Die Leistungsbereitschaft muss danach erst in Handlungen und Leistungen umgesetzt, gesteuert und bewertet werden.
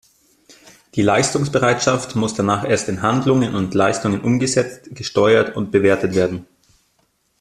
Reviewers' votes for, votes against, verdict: 2, 0, accepted